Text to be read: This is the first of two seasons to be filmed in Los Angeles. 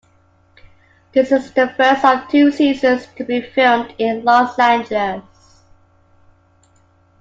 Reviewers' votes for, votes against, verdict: 2, 0, accepted